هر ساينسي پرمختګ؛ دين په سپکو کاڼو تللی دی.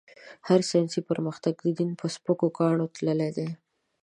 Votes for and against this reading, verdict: 2, 0, accepted